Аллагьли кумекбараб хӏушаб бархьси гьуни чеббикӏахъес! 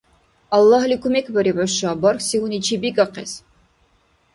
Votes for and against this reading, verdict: 1, 2, rejected